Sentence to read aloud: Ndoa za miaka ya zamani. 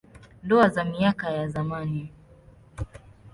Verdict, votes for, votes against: accepted, 2, 0